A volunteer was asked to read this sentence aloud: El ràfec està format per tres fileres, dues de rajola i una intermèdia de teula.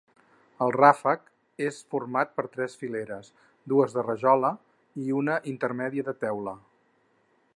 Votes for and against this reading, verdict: 2, 4, rejected